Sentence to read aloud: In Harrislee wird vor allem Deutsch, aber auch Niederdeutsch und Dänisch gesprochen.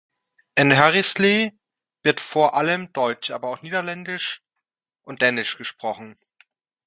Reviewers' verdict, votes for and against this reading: rejected, 1, 2